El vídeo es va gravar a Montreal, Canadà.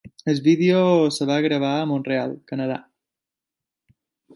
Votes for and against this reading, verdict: 0, 2, rejected